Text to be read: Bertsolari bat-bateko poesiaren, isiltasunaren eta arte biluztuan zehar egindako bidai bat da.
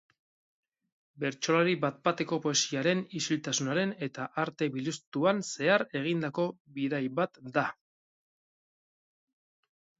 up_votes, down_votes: 2, 0